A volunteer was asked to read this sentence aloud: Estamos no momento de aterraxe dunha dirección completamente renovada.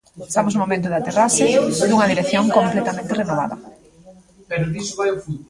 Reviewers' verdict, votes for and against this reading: accepted, 2, 1